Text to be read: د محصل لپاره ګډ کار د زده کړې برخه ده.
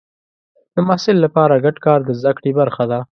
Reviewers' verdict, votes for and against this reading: accepted, 2, 0